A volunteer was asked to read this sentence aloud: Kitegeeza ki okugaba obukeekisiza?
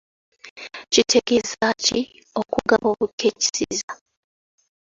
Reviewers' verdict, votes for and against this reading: rejected, 1, 2